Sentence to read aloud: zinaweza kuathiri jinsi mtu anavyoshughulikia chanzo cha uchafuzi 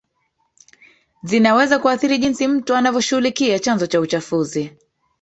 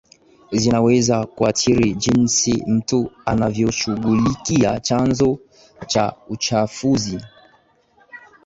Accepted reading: second